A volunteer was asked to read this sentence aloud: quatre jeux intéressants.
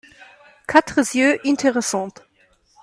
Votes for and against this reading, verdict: 1, 2, rejected